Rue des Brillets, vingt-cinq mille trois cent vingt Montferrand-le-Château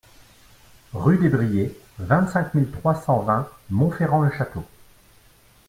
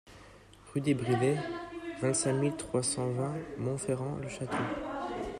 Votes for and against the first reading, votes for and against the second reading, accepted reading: 2, 0, 1, 2, first